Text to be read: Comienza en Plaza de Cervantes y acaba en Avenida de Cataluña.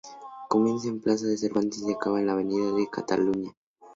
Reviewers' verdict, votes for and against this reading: rejected, 0, 2